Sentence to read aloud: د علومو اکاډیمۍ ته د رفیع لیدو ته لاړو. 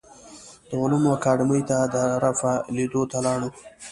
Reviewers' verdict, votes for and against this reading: accepted, 2, 1